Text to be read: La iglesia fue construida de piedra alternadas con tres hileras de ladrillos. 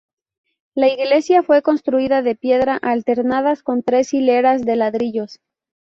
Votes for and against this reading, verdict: 2, 2, rejected